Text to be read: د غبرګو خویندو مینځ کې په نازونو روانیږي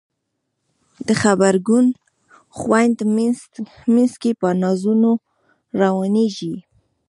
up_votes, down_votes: 2, 0